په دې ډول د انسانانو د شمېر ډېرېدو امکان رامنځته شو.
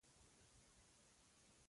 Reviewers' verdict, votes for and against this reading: rejected, 0, 2